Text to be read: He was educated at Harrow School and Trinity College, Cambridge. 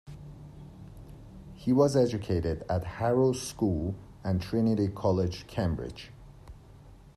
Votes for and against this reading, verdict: 2, 0, accepted